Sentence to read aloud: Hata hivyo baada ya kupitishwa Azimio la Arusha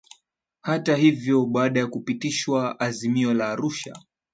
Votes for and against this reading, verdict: 2, 0, accepted